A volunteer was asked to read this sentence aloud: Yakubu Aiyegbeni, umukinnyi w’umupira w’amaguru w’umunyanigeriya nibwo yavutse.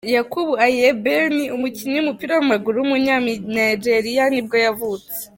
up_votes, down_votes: 0, 2